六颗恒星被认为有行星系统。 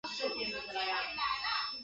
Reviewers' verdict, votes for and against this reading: rejected, 0, 4